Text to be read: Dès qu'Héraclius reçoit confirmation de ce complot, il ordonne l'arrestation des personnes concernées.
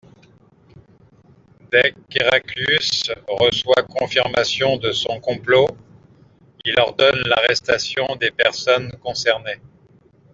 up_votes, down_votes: 0, 2